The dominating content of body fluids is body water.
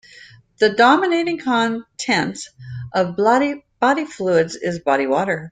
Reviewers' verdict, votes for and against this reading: rejected, 0, 2